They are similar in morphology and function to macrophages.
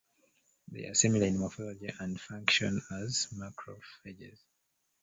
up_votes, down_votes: 1, 2